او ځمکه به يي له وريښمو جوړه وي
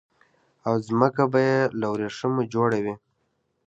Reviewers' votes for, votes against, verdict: 2, 0, accepted